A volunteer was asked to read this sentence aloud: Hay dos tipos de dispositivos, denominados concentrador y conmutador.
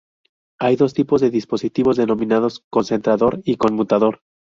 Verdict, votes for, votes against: accepted, 4, 0